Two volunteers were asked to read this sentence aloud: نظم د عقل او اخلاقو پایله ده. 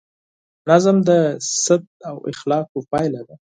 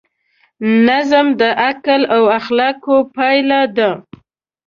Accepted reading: second